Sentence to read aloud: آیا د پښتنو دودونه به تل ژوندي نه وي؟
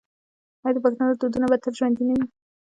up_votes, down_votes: 0, 2